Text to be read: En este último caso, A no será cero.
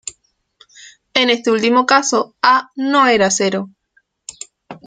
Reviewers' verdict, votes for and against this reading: rejected, 1, 2